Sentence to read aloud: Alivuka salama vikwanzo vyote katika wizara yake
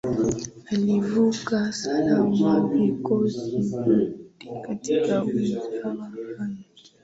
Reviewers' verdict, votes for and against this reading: accepted, 4, 2